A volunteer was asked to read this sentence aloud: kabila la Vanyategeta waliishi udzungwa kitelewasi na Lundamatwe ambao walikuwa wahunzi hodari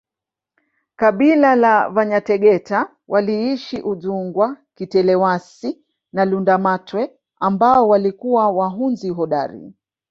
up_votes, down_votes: 1, 2